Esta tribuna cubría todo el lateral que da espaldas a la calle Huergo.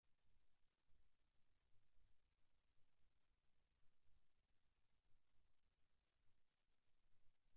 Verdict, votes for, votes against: rejected, 0, 2